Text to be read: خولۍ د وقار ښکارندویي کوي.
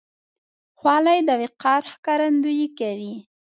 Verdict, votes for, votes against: accepted, 2, 0